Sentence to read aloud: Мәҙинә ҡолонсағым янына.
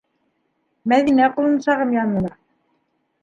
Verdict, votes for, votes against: accepted, 2, 0